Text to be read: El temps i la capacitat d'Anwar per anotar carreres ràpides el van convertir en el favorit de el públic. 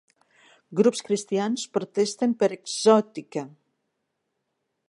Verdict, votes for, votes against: rejected, 0, 2